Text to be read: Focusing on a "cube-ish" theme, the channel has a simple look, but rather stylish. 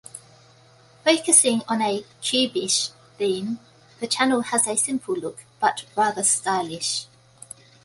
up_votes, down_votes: 2, 0